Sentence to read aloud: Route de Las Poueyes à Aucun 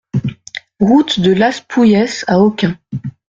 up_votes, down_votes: 2, 1